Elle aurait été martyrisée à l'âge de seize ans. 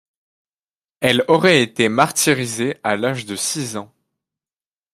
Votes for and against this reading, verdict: 1, 2, rejected